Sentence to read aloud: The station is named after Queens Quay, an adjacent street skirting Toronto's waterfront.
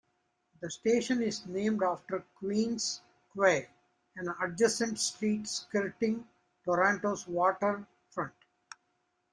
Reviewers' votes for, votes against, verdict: 1, 2, rejected